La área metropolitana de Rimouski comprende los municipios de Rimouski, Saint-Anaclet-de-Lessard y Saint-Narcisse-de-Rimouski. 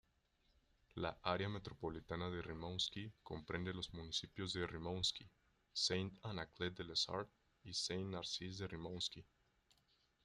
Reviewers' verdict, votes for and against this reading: rejected, 0, 2